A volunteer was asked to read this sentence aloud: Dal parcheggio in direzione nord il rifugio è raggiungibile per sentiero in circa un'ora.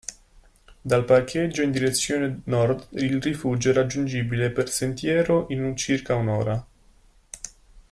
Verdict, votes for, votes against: rejected, 1, 2